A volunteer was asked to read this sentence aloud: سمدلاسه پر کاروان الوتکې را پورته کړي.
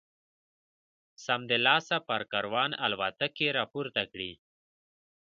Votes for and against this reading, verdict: 2, 0, accepted